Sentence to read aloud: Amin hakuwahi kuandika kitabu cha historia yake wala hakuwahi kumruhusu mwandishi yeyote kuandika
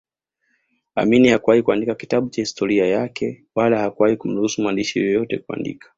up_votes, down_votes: 2, 1